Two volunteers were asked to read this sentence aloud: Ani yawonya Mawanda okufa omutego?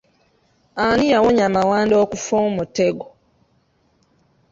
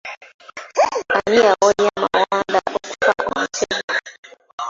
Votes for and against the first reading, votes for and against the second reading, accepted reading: 2, 1, 0, 2, first